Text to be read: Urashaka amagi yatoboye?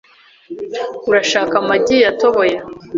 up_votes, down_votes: 4, 0